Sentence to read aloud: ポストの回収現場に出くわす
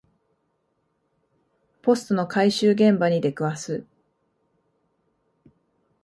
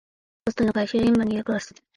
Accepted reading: first